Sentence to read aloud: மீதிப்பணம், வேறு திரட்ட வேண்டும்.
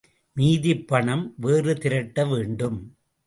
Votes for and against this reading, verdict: 2, 0, accepted